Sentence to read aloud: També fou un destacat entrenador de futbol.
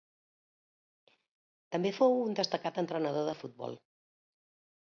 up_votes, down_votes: 3, 0